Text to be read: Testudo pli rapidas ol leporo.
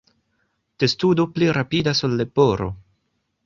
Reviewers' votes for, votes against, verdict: 2, 0, accepted